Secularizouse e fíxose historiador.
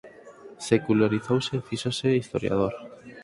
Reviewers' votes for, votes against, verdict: 4, 0, accepted